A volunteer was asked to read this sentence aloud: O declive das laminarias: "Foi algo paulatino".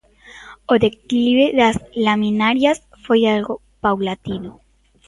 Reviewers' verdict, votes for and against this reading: rejected, 1, 2